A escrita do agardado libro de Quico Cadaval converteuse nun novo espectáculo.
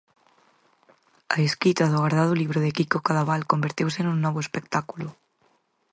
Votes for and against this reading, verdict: 4, 2, accepted